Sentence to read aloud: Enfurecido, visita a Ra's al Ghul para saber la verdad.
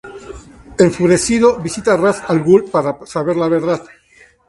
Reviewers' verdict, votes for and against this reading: accepted, 2, 0